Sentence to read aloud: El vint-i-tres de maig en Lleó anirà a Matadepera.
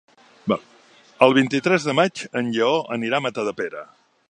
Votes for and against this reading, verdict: 1, 2, rejected